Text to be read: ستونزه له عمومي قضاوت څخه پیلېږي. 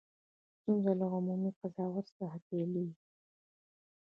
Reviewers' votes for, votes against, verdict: 1, 2, rejected